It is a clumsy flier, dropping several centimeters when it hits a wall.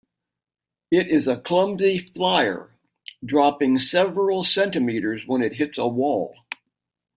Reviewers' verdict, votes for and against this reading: accepted, 2, 0